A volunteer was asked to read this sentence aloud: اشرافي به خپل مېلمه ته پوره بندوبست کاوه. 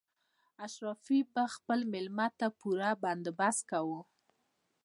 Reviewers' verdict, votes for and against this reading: rejected, 1, 2